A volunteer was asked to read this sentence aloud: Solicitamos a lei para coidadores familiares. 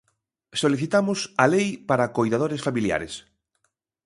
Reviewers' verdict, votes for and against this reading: accepted, 2, 0